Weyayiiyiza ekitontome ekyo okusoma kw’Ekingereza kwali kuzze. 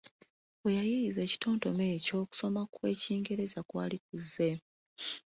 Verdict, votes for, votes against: accepted, 2, 0